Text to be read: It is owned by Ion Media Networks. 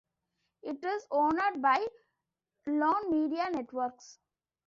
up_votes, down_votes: 1, 2